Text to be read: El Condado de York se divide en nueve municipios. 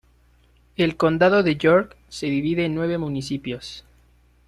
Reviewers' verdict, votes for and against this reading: accepted, 2, 0